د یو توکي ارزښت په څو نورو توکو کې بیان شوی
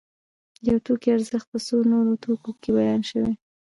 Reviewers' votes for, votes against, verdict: 0, 2, rejected